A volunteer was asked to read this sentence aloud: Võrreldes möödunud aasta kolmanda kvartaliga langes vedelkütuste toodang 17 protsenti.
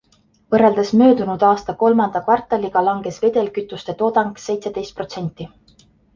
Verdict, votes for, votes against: rejected, 0, 2